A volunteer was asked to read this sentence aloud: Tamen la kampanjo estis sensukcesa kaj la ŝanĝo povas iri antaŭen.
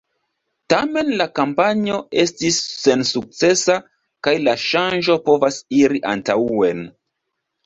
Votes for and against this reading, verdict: 0, 2, rejected